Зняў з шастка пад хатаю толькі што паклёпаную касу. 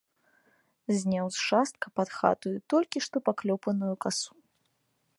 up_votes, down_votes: 0, 2